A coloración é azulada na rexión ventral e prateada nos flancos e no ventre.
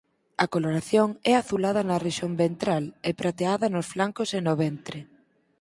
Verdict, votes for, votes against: accepted, 4, 0